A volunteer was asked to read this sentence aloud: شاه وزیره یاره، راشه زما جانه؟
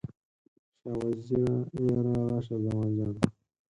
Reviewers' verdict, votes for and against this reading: rejected, 4, 8